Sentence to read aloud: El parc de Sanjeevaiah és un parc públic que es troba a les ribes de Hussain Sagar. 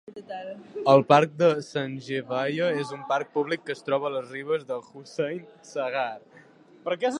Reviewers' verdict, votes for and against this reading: rejected, 1, 2